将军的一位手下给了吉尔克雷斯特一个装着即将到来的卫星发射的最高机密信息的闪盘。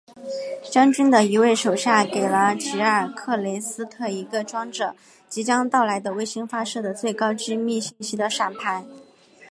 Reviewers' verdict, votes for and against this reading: accepted, 3, 1